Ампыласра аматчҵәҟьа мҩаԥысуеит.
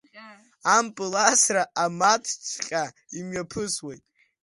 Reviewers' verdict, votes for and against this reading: rejected, 0, 2